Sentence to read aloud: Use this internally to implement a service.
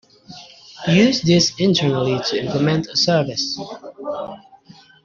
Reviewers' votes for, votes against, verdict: 1, 2, rejected